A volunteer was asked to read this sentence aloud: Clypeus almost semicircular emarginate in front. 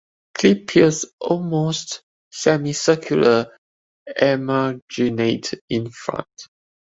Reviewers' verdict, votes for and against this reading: rejected, 1, 2